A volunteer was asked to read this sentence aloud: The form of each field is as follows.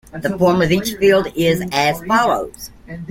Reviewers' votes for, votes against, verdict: 1, 2, rejected